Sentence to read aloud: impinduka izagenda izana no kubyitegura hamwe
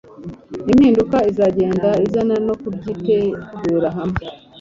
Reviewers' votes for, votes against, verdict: 2, 0, accepted